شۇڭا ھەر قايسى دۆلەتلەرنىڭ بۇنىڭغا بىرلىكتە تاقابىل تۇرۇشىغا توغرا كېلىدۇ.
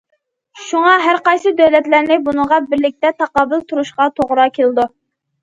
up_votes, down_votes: 0, 2